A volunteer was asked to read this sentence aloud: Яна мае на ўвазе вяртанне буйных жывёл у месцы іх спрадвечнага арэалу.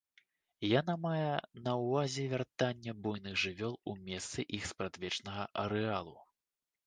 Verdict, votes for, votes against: accepted, 2, 0